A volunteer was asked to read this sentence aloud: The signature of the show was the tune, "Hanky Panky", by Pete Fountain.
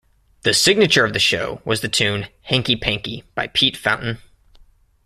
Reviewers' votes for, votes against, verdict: 1, 2, rejected